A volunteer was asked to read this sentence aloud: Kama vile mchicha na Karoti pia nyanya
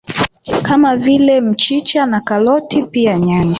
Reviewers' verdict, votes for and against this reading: rejected, 0, 2